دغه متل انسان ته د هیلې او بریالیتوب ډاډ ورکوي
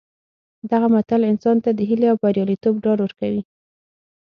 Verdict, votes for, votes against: accepted, 6, 0